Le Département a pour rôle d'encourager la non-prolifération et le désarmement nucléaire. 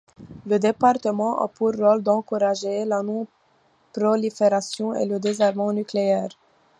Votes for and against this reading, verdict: 2, 1, accepted